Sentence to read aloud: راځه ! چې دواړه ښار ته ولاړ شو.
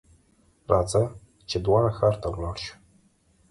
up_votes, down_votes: 2, 0